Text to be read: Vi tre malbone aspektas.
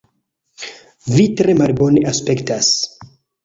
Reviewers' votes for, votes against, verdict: 0, 2, rejected